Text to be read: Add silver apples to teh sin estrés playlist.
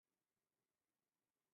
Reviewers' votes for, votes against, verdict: 0, 2, rejected